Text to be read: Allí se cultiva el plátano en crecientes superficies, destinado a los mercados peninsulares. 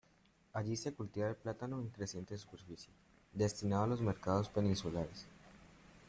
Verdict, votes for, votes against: rejected, 0, 2